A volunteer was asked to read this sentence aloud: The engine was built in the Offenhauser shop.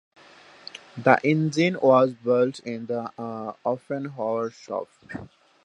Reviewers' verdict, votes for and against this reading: rejected, 0, 2